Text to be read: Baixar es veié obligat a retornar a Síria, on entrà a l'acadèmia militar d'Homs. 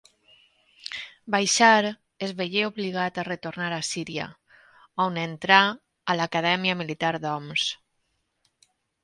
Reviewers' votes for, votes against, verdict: 2, 0, accepted